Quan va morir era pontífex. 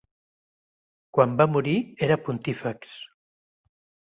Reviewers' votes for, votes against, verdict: 2, 0, accepted